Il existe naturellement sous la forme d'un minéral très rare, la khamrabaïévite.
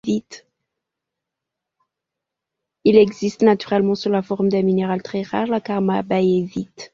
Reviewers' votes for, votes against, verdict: 0, 2, rejected